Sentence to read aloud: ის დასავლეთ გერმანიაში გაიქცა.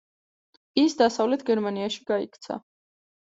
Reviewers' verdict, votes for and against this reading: accepted, 2, 0